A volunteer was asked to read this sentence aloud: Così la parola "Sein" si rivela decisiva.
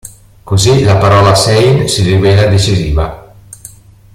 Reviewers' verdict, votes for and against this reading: rejected, 0, 2